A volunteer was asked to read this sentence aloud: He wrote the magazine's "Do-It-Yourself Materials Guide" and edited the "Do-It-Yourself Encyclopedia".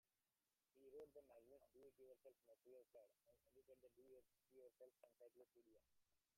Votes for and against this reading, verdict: 0, 2, rejected